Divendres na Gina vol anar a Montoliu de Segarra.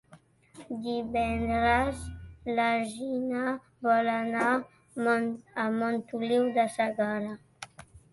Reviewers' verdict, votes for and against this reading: rejected, 0, 2